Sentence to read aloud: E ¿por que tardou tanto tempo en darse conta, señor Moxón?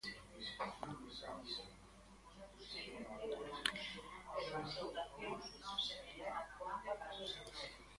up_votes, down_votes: 0, 2